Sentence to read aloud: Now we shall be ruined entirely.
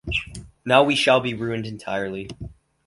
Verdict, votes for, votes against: accepted, 4, 0